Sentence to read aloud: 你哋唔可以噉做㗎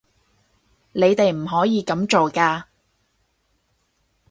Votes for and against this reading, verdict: 4, 0, accepted